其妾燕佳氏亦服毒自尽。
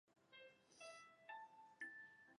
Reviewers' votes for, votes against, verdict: 0, 4, rejected